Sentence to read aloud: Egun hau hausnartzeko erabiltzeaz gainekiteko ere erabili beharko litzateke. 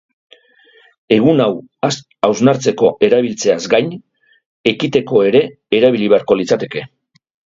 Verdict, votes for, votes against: rejected, 0, 2